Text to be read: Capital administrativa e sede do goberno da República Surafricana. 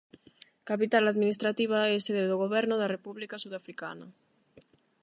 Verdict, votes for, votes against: accepted, 8, 0